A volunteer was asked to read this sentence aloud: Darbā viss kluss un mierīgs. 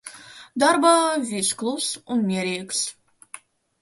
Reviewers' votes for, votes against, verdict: 0, 2, rejected